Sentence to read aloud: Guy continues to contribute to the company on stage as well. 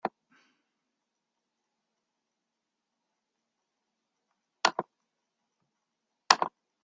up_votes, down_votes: 0, 2